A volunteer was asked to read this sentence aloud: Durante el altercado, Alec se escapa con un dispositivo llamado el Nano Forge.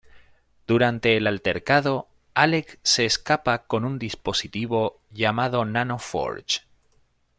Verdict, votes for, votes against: rejected, 1, 2